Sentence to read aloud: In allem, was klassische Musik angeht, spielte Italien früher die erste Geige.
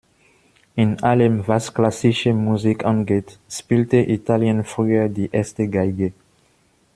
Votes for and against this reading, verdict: 2, 1, accepted